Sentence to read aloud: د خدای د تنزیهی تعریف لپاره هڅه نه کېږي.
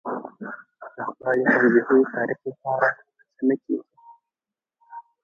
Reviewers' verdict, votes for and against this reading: rejected, 0, 2